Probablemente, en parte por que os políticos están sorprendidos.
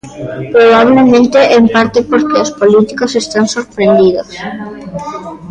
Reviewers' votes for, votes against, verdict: 0, 2, rejected